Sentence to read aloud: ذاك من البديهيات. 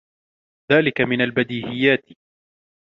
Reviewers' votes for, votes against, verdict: 0, 2, rejected